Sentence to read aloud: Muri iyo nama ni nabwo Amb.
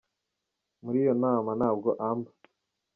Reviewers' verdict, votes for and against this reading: rejected, 1, 2